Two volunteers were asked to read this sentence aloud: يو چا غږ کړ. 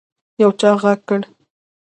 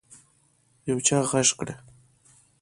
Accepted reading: second